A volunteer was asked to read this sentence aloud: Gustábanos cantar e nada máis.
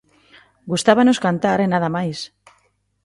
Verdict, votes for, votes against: accepted, 2, 0